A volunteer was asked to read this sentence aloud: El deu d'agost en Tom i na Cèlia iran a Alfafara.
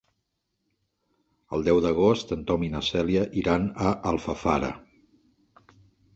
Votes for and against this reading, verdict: 2, 0, accepted